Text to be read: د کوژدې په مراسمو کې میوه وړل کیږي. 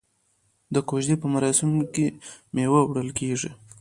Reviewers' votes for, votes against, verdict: 2, 1, accepted